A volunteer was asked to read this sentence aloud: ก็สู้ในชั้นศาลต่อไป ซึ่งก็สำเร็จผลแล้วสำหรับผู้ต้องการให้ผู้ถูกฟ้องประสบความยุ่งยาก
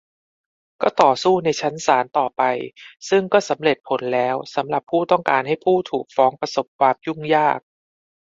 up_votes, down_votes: 0, 2